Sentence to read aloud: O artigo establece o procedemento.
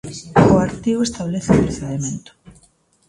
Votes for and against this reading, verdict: 1, 2, rejected